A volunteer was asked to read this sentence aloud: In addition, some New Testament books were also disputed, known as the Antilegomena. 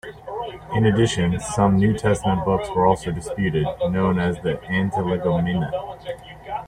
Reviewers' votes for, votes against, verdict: 1, 2, rejected